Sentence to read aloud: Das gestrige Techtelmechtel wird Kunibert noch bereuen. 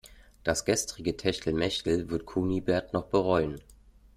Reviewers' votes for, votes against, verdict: 2, 0, accepted